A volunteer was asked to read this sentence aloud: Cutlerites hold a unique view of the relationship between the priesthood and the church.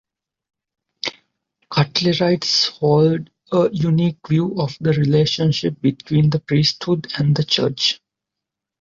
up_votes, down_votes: 2, 0